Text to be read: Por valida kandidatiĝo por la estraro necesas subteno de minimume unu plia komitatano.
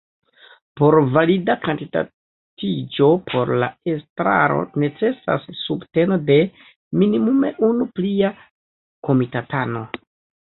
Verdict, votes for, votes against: accepted, 2, 0